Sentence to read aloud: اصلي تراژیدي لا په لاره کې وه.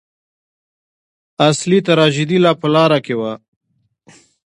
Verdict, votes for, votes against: accepted, 2, 0